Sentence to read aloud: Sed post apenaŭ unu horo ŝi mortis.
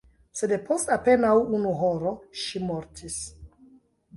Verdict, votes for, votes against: rejected, 0, 2